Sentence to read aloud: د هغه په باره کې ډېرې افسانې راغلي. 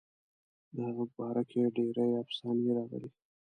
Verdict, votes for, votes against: accepted, 2, 1